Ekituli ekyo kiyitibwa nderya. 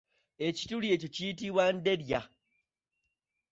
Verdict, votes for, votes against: accepted, 2, 1